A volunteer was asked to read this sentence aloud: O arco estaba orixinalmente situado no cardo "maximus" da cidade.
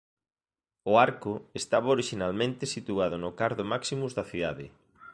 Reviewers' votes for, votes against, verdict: 2, 0, accepted